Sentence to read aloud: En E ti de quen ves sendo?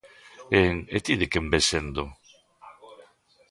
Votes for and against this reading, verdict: 0, 2, rejected